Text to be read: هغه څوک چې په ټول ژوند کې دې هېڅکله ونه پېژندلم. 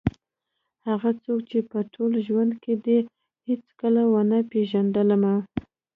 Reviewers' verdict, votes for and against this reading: accepted, 2, 0